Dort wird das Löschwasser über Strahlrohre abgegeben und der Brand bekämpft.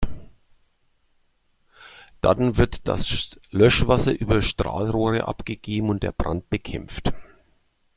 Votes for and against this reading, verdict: 1, 2, rejected